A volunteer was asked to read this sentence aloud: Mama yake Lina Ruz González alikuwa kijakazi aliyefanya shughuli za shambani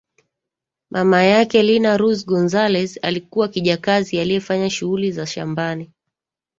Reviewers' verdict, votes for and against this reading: accepted, 3, 1